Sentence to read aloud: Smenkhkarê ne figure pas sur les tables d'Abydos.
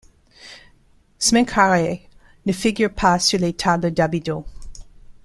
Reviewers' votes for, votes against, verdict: 2, 1, accepted